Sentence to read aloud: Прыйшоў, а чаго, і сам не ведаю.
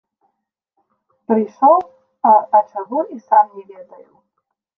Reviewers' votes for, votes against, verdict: 0, 2, rejected